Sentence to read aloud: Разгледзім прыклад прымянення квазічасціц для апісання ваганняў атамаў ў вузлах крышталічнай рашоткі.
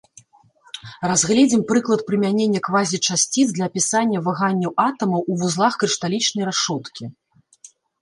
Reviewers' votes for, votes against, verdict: 2, 0, accepted